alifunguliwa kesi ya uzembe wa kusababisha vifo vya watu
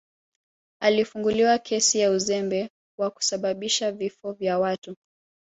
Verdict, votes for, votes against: rejected, 1, 2